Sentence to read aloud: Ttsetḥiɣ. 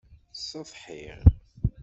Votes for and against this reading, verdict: 0, 2, rejected